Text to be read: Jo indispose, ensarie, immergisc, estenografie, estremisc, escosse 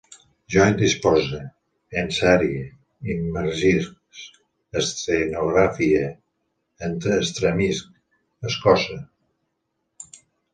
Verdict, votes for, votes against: rejected, 1, 2